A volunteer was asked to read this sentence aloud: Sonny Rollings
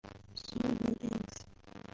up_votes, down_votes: 0, 3